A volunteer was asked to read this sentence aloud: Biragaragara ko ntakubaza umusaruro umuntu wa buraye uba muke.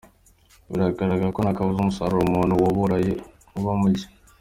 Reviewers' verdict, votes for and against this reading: accepted, 2, 1